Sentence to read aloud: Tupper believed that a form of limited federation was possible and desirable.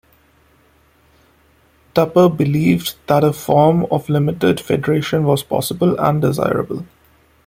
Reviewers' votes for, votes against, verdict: 2, 0, accepted